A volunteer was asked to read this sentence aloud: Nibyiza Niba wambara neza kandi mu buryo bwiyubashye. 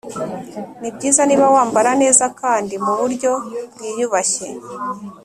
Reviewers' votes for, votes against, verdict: 3, 0, accepted